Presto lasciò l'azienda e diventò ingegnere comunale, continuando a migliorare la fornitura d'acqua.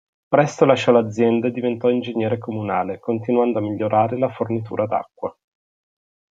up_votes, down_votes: 2, 0